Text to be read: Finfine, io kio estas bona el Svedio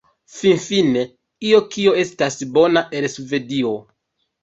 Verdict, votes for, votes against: rejected, 1, 2